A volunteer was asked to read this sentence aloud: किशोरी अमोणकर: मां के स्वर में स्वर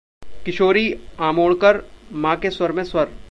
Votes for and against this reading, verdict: 1, 2, rejected